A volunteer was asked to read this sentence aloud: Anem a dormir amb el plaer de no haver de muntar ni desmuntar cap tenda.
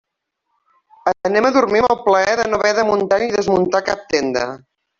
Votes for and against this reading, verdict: 2, 0, accepted